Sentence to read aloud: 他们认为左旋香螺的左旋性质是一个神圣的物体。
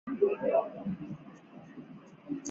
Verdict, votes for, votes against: rejected, 0, 2